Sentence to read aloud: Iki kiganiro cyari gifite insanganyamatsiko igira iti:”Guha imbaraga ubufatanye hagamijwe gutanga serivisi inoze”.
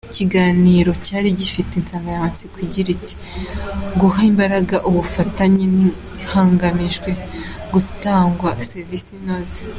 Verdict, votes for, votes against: rejected, 1, 2